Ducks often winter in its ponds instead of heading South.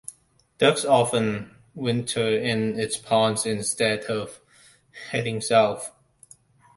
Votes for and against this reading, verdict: 2, 0, accepted